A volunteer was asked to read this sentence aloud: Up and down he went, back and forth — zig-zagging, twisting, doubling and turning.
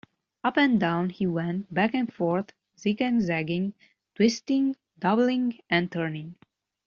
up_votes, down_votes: 0, 2